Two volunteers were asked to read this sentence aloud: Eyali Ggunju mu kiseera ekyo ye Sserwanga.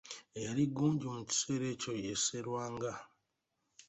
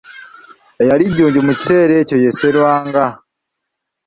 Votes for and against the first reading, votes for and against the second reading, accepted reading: 2, 0, 1, 2, first